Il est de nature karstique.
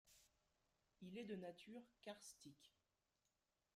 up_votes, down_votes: 0, 2